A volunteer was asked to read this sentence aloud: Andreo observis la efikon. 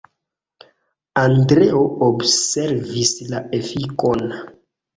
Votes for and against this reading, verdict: 0, 2, rejected